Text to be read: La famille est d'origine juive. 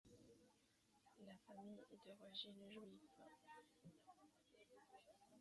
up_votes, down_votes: 0, 2